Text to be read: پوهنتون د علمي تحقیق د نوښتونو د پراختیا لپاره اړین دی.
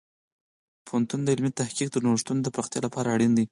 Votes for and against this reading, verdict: 0, 4, rejected